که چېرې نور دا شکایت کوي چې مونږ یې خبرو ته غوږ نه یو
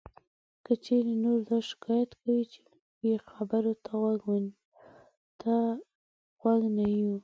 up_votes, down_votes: 1, 2